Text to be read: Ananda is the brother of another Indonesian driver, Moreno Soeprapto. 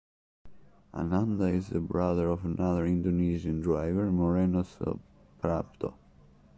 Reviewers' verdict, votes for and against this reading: rejected, 0, 2